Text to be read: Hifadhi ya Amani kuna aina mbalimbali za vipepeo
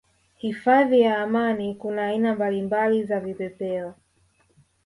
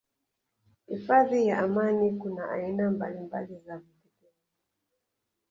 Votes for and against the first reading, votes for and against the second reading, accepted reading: 2, 1, 0, 2, first